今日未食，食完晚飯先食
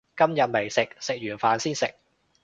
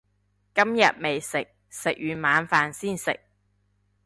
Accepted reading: second